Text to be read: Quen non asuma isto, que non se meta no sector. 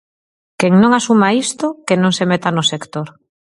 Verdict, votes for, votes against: accepted, 4, 0